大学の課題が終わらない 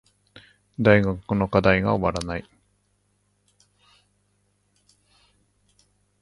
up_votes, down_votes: 0, 2